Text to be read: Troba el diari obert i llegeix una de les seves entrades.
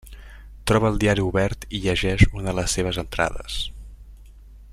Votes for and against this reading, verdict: 0, 2, rejected